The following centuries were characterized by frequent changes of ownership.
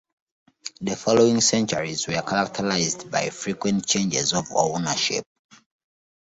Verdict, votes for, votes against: accepted, 3, 0